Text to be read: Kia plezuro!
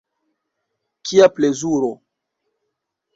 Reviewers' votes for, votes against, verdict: 2, 0, accepted